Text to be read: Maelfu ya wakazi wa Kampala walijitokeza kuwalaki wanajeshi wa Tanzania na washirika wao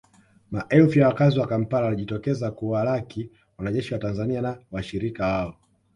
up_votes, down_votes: 2, 0